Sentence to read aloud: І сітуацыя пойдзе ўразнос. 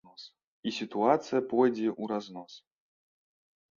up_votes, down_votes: 2, 0